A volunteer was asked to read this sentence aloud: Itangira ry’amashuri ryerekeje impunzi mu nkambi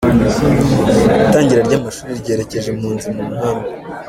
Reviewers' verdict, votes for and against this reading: accepted, 2, 0